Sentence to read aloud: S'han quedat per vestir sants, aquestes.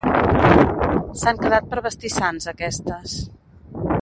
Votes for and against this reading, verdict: 1, 2, rejected